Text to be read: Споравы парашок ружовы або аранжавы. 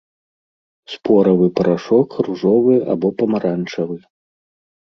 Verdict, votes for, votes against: rejected, 1, 2